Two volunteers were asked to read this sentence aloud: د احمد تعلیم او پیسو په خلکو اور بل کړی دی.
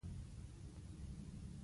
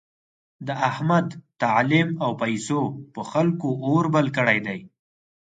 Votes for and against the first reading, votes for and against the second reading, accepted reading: 0, 2, 4, 0, second